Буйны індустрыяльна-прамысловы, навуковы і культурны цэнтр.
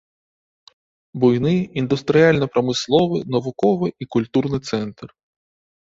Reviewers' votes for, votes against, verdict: 3, 0, accepted